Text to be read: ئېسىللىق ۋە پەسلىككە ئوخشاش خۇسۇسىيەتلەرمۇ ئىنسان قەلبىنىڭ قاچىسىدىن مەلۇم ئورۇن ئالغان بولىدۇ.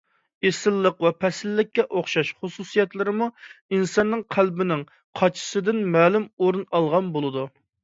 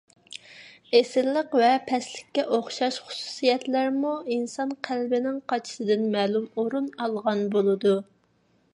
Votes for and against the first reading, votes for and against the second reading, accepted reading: 1, 2, 2, 0, second